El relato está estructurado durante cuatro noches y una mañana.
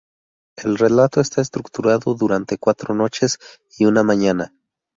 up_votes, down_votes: 2, 0